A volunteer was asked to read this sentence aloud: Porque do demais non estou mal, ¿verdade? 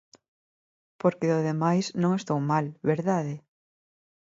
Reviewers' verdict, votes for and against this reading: accepted, 2, 1